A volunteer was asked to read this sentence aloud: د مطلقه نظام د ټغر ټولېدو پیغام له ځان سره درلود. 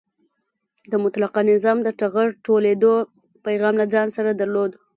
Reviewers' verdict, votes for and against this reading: rejected, 1, 2